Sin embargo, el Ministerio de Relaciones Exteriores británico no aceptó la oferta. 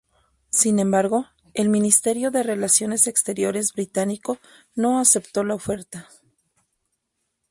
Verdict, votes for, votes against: accepted, 4, 0